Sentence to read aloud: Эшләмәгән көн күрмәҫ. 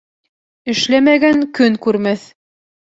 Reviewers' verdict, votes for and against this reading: accepted, 3, 0